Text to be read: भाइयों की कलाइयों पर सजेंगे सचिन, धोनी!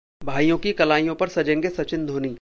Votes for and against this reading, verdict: 1, 2, rejected